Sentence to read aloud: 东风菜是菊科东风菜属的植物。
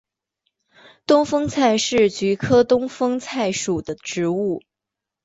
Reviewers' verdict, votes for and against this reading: accepted, 2, 0